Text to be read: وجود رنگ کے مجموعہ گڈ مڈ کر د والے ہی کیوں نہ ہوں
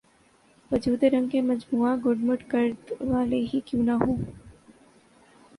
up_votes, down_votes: 2, 0